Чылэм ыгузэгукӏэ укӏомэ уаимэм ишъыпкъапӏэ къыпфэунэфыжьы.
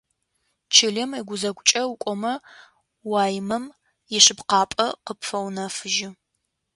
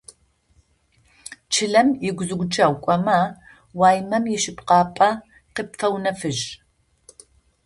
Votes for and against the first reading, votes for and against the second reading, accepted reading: 2, 0, 0, 2, first